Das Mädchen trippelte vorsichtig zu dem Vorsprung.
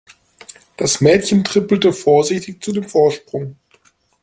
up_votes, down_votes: 2, 0